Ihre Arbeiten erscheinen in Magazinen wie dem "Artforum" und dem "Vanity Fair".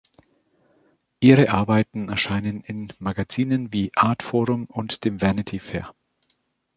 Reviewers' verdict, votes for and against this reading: rejected, 0, 2